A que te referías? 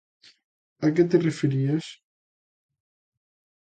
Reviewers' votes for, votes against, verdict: 2, 0, accepted